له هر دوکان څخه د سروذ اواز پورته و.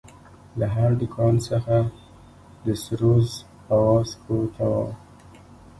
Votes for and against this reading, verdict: 0, 2, rejected